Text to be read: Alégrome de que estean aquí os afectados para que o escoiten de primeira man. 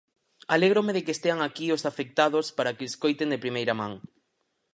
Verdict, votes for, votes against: accepted, 4, 2